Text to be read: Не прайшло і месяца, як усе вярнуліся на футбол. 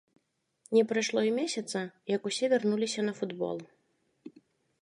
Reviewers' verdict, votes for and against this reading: accepted, 2, 0